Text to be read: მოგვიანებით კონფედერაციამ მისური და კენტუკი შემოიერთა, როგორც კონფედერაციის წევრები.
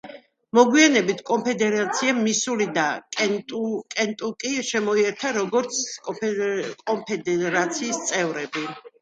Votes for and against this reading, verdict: 0, 2, rejected